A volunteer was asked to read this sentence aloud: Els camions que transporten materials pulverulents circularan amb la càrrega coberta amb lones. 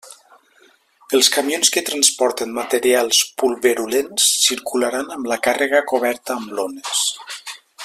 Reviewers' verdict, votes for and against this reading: accepted, 2, 0